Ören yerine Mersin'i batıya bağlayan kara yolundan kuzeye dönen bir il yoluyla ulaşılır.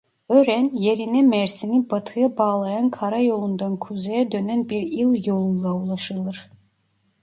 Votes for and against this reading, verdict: 0, 2, rejected